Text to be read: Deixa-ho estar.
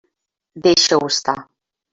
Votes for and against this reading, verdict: 0, 2, rejected